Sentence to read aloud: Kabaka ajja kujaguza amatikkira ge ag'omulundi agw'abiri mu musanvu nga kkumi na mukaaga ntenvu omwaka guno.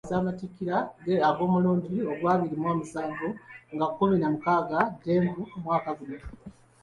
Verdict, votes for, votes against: accepted, 2, 1